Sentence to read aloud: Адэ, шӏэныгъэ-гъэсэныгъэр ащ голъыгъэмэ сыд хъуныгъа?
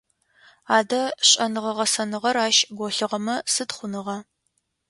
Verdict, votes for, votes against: accepted, 2, 0